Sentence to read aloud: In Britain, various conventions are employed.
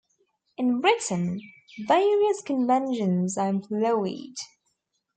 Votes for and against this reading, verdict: 0, 2, rejected